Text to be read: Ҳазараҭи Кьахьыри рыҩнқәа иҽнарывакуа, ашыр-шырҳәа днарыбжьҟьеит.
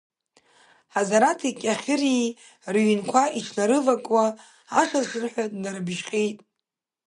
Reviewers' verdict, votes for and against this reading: rejected, 0, 2